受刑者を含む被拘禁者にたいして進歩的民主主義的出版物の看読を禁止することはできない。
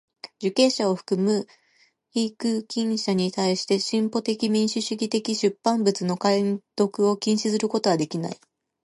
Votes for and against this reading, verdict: 0, 2, rejected